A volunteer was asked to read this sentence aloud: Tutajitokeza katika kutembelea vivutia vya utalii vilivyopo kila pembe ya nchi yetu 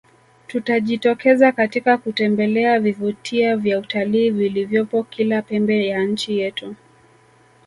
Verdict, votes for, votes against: accepted, 2, 0